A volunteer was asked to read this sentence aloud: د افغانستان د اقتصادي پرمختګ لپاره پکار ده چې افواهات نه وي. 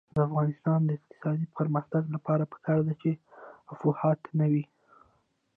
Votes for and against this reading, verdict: 1, 2, rejected